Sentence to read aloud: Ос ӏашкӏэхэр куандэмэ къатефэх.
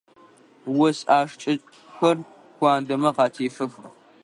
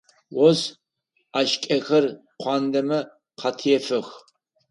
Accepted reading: second